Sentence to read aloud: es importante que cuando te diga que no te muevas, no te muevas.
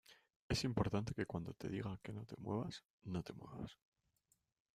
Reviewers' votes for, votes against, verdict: 1, 2, rejected